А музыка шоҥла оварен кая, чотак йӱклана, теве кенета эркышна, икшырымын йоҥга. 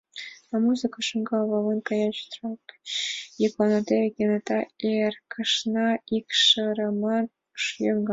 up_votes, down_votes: 1, 2